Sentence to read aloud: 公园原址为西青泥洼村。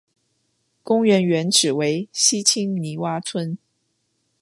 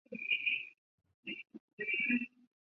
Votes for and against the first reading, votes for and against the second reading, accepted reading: 2, 0, 0, 2, first